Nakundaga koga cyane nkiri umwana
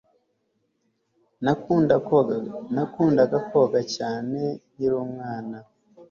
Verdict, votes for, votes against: rejected, 0, 3